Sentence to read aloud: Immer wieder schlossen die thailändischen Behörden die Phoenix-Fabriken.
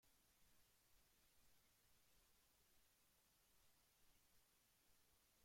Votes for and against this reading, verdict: 0, 2, rejected